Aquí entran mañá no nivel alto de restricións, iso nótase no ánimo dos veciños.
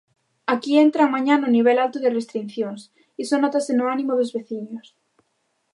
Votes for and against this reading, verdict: 1, 2, rejected